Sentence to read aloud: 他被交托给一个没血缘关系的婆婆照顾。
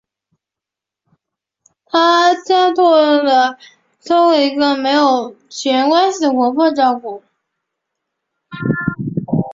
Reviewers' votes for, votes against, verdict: 0, 4, rejected